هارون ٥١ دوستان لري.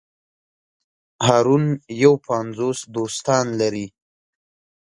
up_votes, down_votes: 0, 2